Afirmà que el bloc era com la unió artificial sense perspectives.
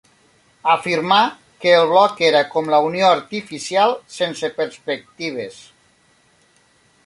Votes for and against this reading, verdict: 3, 0, accepted